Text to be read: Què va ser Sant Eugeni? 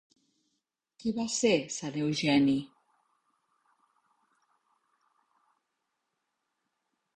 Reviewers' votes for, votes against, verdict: 1, 2, rejected